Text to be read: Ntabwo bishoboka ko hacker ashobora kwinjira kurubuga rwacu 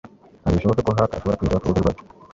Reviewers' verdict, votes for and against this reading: accepted, 2, 0